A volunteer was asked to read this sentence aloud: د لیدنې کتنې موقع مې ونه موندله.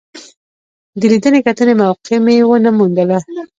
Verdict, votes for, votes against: rejected, 0, 2